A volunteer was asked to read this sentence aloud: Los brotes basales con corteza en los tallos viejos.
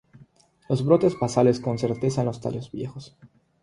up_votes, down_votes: 0, 3